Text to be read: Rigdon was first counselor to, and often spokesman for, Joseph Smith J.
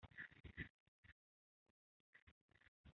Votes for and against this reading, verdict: 0, 2, rejected